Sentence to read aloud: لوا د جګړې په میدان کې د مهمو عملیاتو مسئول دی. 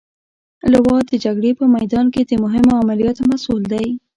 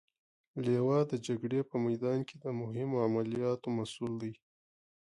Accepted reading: second